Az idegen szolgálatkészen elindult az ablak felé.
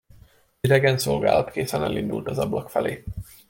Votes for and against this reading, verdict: 1, 2, rejected